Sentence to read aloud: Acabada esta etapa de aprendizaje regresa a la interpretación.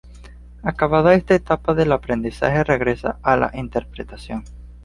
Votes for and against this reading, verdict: 0, 2, rejected